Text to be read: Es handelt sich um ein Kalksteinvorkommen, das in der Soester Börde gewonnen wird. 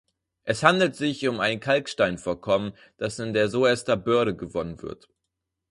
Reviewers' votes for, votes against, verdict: 0, 4, rejected